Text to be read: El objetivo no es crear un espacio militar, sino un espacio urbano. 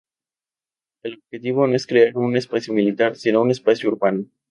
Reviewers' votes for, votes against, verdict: 0, 2, rejected